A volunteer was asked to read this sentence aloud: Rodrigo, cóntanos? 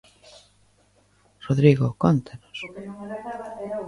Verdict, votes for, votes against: rejected, 0, 2